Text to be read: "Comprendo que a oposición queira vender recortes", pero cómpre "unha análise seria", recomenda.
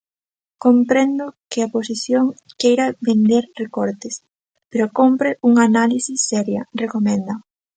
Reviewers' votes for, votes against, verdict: 2, 0, accepted